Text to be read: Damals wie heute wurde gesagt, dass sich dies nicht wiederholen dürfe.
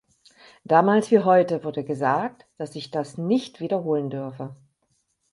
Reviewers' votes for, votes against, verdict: 0, 4, rejected